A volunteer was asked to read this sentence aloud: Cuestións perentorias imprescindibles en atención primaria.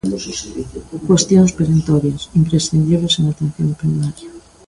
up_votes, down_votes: 0, 2